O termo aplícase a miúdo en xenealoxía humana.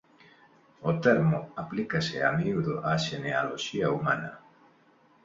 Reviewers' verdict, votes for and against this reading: rejected, 0, 3